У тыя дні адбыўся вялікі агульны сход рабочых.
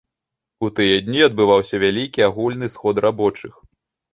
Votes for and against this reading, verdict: 1, 2, rejected